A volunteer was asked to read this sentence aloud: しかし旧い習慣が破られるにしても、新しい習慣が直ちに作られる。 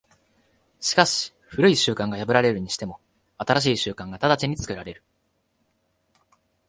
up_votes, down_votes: 2, 0